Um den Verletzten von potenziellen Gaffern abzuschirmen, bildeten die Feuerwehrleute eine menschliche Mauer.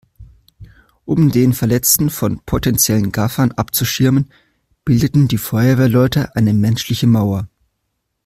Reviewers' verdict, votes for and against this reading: accepted, 2, 0